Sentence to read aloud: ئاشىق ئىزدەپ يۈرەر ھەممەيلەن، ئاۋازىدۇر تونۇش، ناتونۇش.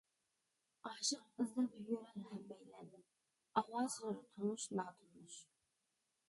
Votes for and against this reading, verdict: 0, 2, rejected